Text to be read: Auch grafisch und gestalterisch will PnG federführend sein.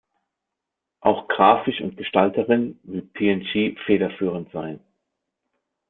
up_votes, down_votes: 0, 2